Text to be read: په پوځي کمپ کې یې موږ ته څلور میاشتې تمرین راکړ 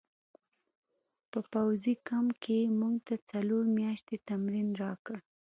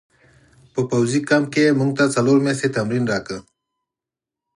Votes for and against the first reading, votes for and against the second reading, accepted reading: 0, 3, 4, 0, second